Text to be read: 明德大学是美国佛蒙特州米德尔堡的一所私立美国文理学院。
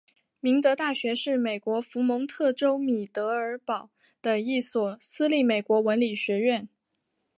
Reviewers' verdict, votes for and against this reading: accepted, 4, 2